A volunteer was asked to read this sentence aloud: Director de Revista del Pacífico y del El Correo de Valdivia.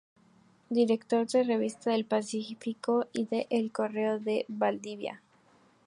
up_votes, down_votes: 2, 0